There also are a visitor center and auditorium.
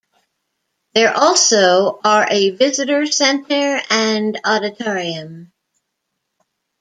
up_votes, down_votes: 2, 0